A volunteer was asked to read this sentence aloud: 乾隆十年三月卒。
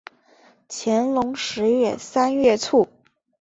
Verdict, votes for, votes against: accepted, 2, 0